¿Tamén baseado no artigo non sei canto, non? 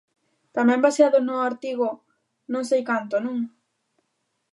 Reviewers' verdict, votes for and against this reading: accepted, 3, 0